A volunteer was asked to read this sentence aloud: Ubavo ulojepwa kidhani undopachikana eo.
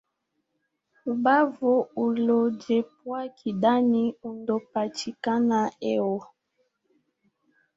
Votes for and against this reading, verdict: 0, 2, rejected